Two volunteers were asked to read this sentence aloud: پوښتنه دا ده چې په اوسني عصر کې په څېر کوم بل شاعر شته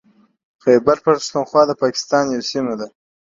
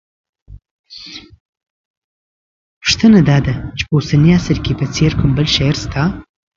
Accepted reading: second